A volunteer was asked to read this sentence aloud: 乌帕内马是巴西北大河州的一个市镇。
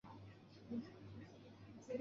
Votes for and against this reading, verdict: 0, 3, rejected